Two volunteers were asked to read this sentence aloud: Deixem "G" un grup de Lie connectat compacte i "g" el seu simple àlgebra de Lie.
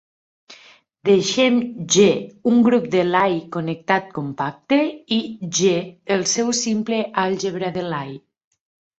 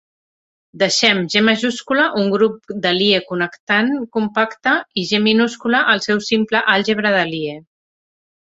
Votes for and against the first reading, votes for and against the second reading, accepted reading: 2, 0, 1, 2, first